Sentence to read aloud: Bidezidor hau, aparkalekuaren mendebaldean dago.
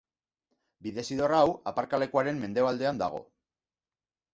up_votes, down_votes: 2, 0